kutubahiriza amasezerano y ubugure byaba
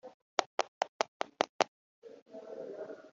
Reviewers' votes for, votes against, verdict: 1, 2, rejected